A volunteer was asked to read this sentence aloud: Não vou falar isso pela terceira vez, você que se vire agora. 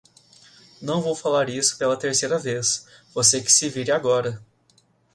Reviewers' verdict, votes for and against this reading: accepted, 2, 0